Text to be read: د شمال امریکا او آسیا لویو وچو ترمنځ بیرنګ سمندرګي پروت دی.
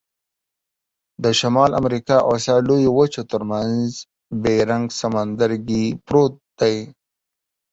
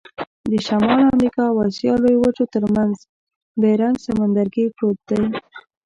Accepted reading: first